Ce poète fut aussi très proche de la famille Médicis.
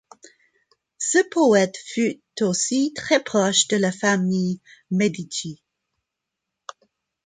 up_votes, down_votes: 1, 2